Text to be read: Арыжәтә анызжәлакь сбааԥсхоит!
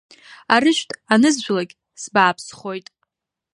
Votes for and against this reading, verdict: 2, 0, accepted